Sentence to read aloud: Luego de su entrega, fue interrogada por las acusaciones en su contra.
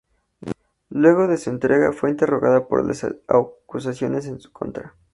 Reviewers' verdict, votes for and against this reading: rejected, 0, 2